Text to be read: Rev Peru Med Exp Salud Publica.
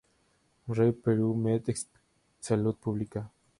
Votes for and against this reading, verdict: 2, 2, rejected